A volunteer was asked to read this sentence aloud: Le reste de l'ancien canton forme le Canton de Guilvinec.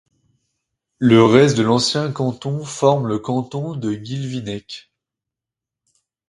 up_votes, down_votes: 2, 0